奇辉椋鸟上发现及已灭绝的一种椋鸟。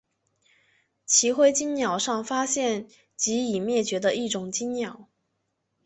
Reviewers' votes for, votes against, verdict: 0, 2, rejected